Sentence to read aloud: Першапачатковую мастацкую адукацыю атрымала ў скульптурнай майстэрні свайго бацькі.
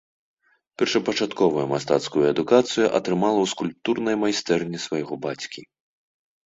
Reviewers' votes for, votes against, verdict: 2, 0, accepted